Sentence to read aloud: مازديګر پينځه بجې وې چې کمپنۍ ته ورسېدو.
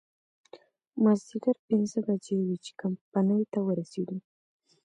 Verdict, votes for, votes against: rejected, 1, 2